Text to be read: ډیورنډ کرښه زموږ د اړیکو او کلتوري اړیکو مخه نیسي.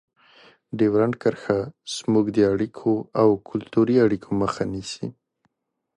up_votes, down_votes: 2, 0